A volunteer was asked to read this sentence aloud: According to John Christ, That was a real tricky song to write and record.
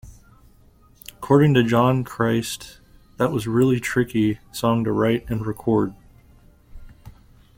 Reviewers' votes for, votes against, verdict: 1, 2, rejected